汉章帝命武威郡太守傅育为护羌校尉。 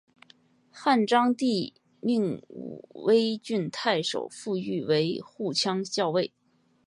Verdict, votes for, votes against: accepted, 4, 0